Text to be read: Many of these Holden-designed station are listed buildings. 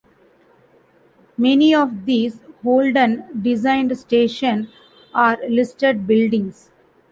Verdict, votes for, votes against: accepted, 2, 1